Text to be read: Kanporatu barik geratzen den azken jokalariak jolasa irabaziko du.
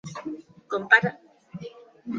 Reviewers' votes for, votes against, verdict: 0, 2, rejected